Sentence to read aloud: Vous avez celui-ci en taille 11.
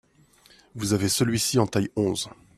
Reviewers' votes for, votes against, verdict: 0, 2, rejected